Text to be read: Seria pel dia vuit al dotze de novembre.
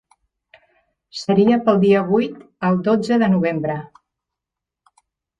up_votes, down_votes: 4, 0